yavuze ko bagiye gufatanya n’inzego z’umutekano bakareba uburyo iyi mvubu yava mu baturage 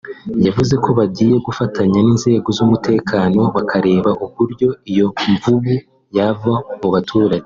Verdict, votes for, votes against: accepted, 2, 0